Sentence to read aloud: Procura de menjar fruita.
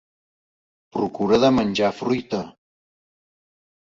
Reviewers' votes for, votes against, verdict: 2, 0, accepted